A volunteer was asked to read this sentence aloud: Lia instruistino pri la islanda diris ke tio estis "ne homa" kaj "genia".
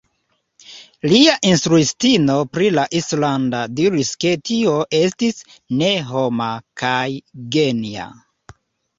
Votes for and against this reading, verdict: 2, 1, accepted